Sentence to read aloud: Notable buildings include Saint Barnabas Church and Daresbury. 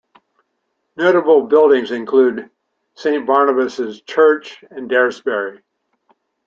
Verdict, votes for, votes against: accepted, 2, 1